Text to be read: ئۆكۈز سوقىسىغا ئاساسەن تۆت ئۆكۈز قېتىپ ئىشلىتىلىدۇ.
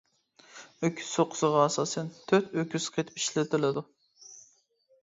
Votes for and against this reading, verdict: 0, 2, rejected